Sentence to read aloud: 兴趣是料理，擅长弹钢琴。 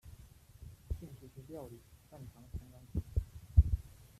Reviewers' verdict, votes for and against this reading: rejected, 0, 2